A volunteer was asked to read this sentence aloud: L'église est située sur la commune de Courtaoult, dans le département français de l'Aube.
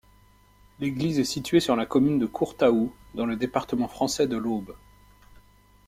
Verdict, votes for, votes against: accepted, 2, 0